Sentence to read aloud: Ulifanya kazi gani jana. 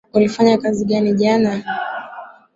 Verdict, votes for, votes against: accepted, 2, 0